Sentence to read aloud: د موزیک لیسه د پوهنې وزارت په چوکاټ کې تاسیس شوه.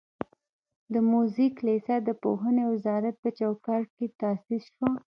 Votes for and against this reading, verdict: 1, 2, rejected